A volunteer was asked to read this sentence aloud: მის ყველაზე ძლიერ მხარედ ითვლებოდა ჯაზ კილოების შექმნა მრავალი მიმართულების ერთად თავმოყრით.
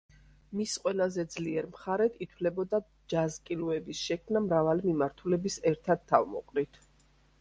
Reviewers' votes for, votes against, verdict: 2, 0, accepted